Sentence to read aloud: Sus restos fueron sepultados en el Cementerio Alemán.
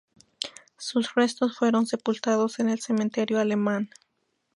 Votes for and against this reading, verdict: 2, 0, accepted